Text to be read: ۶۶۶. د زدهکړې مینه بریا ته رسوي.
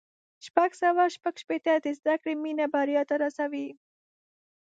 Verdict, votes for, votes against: rejected, 0, 2